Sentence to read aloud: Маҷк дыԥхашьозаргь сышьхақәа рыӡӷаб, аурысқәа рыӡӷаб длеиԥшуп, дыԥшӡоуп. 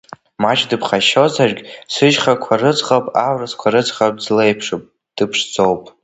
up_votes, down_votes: 1, 2